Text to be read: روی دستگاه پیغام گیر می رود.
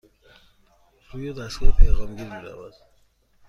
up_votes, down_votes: 1, 2